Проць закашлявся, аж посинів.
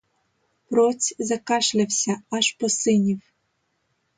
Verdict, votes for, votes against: accepted, 2, 0